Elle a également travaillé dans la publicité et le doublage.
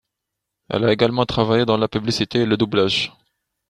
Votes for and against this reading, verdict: 2, 0, accepted